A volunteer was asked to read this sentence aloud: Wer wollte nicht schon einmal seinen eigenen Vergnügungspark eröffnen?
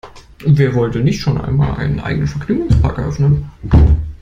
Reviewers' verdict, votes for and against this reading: rejected, 0, 2